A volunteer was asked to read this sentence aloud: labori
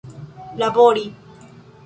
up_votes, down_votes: 0, 2